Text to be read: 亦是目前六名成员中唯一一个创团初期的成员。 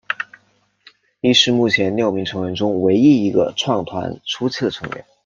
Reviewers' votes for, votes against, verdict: 2, 0, accepted